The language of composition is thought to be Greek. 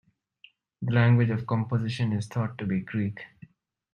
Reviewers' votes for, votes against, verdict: 2, 0, accepted